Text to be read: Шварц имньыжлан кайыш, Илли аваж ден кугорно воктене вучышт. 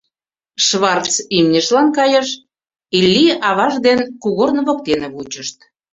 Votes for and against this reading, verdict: 2, 0, accepted